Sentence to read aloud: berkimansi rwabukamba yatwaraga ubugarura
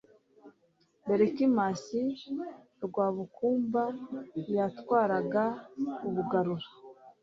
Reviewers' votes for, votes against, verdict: 2, 1, accepted